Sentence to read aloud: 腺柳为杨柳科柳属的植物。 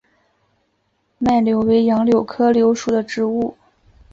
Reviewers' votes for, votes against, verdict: 2, 0, accepted